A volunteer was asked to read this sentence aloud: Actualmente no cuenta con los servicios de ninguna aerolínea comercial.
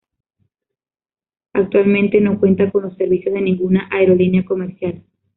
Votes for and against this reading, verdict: 2, 0, accepted